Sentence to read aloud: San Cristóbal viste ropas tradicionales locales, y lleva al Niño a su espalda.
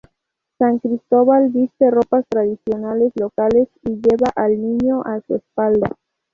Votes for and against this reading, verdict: 0, 2, rejected